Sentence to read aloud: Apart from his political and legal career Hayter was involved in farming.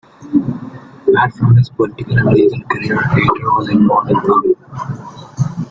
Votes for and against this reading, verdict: 0, 2, rejected